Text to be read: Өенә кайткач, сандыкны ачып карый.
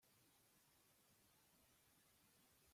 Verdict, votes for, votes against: rejected, 1, 2